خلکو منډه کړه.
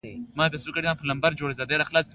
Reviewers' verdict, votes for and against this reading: rejected, 0, 2